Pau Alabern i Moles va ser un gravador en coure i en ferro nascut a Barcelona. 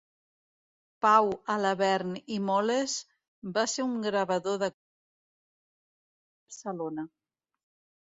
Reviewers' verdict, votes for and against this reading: rejected, 0, 2